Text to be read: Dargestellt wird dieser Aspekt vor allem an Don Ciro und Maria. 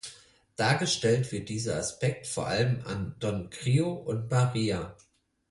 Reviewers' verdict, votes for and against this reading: rejected, 2, 4